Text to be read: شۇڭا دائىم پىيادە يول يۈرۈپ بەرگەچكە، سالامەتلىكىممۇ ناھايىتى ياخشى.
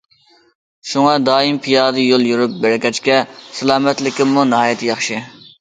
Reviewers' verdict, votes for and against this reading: accepted, 2, 0